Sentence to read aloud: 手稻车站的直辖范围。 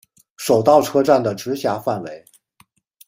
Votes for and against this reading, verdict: 2, 0, accepted